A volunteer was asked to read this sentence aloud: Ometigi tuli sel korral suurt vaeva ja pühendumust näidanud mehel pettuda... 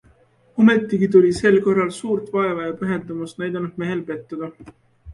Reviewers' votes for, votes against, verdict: 2, 0, accepted